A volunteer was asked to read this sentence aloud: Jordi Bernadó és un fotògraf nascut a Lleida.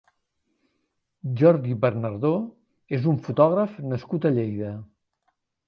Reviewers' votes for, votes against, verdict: 1, 2, rejected